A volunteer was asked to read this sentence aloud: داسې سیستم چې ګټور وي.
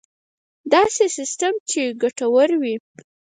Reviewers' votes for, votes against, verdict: 4, 2, accepted